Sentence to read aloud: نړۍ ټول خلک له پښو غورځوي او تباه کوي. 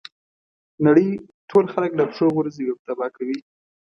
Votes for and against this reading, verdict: 3, 0, accepted